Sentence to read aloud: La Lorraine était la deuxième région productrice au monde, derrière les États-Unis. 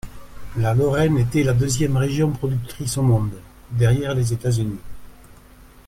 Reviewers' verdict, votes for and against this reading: accepted, 2, 0